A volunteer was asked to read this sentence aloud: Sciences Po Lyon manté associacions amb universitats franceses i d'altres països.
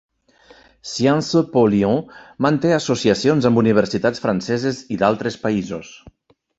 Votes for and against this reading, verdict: 2, 0, accepted